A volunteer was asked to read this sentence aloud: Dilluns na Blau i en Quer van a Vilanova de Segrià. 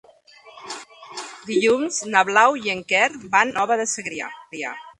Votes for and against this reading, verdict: 0, 2, rejected